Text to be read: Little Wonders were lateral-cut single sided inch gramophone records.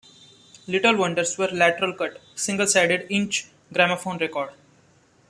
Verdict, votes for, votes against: accepted, 2, 0